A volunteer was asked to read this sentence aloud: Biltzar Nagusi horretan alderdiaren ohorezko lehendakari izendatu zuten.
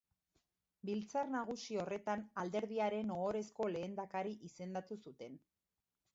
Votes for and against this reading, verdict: 1, 2, rejected